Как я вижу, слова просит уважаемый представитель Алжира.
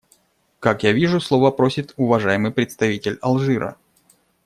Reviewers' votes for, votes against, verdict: 2, 0, accepted